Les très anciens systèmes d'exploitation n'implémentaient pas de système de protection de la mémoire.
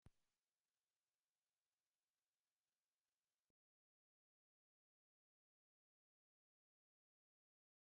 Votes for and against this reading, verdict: 0, 2, rejected